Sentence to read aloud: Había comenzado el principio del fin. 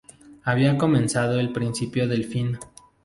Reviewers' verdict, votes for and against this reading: accepted, 2, 0